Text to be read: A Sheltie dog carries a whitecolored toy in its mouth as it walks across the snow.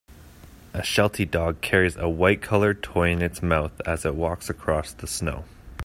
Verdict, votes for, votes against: accepted, 2, 0